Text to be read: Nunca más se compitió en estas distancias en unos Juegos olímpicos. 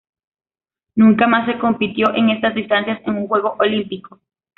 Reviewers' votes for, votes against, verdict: 0, 2, rejected